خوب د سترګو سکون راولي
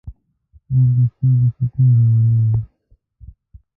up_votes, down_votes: 1, 2